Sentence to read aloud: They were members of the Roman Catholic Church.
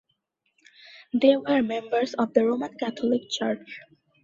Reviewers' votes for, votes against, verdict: 2, 0, accepted